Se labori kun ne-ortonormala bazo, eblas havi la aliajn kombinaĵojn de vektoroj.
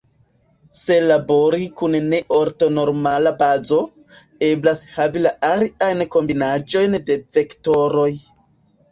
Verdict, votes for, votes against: rejected, 0, 2